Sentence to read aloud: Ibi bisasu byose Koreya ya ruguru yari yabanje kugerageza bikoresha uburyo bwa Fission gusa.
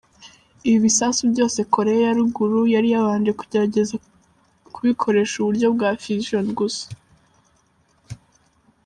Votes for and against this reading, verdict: 1, 2, rejected